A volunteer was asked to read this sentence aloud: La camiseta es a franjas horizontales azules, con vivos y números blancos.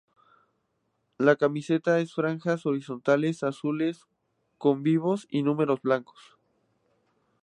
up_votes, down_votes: 0, 2